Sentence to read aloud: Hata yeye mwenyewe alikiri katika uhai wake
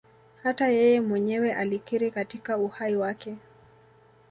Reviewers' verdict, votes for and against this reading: rejected, 1, 2